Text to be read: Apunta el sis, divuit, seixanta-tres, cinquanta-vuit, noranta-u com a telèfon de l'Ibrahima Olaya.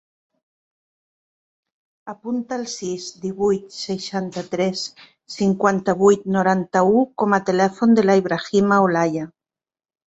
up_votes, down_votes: 4, 0